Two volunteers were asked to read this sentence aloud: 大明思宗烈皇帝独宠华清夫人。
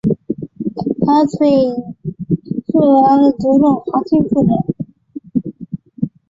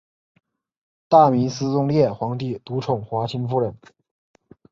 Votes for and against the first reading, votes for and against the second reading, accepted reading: 1, 5, 4, 0, second